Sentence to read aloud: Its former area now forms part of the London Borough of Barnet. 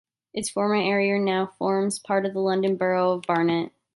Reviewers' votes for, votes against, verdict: 2, 0, accepted